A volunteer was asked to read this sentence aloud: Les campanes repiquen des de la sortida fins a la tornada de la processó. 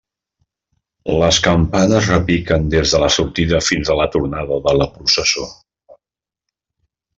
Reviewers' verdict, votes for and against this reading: accepted, 2, 0